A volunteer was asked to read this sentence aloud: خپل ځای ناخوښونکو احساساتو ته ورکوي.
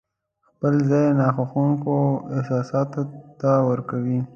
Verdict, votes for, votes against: accepted, 2, 0